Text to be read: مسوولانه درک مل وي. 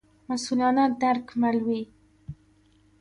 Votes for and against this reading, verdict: 2, 1, accepted